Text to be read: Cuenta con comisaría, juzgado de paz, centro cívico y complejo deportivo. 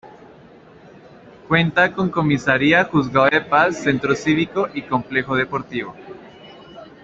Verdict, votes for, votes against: accepted, 2, 0